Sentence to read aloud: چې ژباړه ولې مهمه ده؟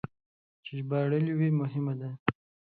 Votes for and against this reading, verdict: 1, 2, rejected